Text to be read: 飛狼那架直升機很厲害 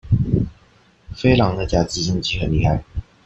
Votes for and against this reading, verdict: 1, 2, rejected